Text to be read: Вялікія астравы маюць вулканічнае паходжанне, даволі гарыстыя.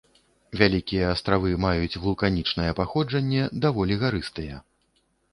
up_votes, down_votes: 1, 2